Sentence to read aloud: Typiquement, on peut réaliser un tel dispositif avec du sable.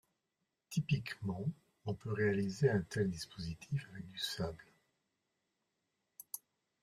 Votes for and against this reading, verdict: 2, 0, accepted